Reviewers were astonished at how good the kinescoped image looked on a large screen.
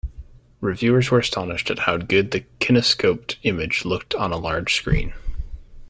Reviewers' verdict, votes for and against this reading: rejected, 1, 2